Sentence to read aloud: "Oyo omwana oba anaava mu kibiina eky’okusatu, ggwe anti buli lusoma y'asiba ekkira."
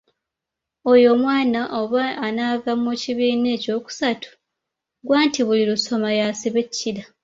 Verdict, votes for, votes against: accepted, 2, 1